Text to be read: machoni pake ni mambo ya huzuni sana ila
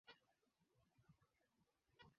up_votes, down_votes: 0, 2